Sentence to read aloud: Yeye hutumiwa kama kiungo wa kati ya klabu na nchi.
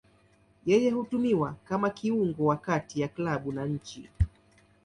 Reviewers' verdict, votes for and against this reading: accepted, 2, 0